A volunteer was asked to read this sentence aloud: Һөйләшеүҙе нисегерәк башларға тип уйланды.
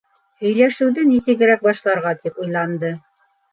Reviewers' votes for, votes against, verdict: 3, 0, accepted